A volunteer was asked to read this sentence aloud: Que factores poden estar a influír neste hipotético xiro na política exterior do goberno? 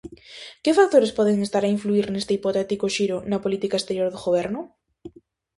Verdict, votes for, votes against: accepted, 2, 0